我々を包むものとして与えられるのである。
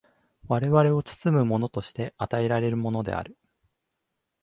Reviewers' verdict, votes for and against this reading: rejected, 1, 2